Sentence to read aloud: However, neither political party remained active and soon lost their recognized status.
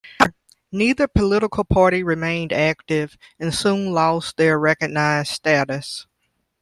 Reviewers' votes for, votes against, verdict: 0, 2, rejected